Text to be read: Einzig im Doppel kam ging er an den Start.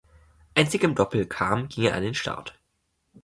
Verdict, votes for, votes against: rejected, 1, 2